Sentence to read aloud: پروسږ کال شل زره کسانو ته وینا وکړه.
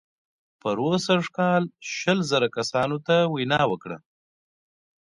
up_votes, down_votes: 2, 0